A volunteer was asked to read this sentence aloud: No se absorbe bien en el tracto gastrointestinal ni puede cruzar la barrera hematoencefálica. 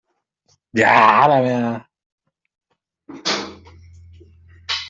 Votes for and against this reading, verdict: 0, 2, rejected